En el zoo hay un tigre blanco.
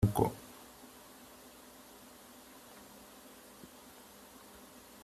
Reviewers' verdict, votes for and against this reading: rejected, 0, 3